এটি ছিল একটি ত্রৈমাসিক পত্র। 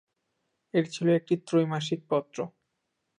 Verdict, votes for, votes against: rejected, 1, 2